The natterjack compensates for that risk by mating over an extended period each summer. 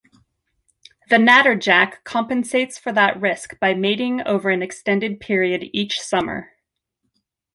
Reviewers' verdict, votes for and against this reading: accepted, 2, 0